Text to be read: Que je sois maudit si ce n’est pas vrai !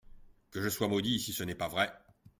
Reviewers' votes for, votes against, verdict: 2, 0, accepted